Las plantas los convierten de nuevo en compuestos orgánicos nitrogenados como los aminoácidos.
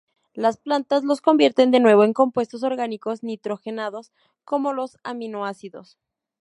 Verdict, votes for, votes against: accepted, 2, 0